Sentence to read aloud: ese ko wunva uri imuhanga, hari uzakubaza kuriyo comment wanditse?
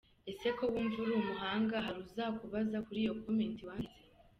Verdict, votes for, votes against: accepted, 2, 0